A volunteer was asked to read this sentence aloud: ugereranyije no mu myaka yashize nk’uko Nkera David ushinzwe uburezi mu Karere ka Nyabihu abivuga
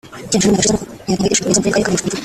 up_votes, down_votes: 0, 2